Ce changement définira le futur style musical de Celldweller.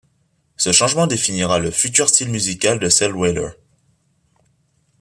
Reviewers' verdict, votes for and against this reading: accepted, 3, 0